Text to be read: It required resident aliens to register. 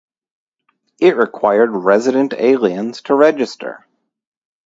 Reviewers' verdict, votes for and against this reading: rejected, 2, 2